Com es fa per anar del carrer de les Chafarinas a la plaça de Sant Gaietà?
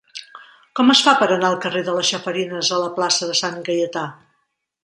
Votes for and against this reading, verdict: 2, 0, accepted